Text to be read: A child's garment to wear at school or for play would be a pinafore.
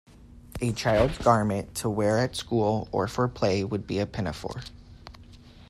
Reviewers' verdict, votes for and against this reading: accepted, 2, 0